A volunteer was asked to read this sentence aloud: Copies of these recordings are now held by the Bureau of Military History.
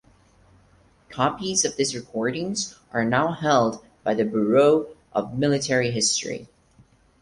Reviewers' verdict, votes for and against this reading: rejected, 2, 4